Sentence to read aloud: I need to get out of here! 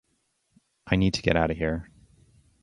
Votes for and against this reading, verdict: 2, 0, accepted